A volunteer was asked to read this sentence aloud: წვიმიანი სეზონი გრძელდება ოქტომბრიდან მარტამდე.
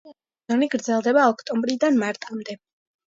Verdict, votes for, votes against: rejected, 1, 2